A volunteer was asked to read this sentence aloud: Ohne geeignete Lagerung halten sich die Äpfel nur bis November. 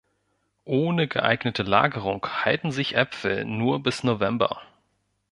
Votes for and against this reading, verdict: 1, 2, rejected